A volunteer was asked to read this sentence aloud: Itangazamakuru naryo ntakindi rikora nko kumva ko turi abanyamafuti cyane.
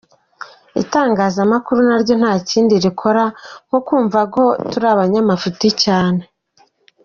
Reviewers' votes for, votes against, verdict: 2, 0, accepted